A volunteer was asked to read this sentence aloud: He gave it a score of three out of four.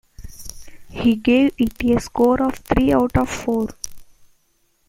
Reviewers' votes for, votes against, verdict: 2, 1, accepted